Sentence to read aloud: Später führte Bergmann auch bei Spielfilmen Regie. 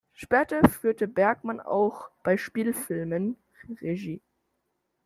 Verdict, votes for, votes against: accepted, 2, 0